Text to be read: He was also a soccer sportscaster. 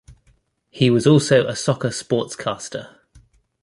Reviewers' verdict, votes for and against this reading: accepted, 2, 0